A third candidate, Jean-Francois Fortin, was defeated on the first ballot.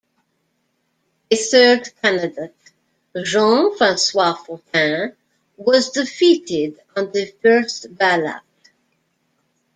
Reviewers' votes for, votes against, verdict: 1, 2, rejected